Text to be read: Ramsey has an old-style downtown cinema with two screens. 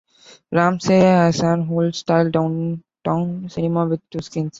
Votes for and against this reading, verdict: 1, 2, rejected